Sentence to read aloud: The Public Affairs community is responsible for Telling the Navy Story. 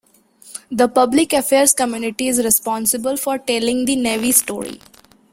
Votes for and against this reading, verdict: 2, 0, accepted